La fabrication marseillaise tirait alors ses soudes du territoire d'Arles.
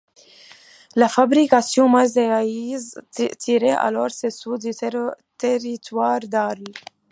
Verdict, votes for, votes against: rejected, 1, 2